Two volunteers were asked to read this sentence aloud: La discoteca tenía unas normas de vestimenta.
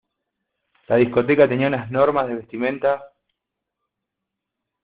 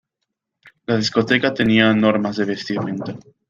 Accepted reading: first